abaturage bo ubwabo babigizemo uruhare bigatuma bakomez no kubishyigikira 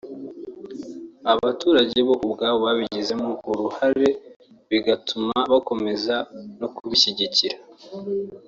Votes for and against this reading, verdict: 1, 2, rejected